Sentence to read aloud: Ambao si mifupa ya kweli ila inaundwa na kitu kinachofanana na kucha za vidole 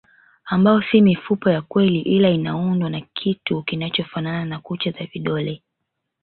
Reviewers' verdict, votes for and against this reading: rejected, 1, 2